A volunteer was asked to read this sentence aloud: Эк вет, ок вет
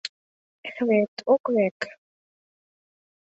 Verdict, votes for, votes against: accepted, 2, 1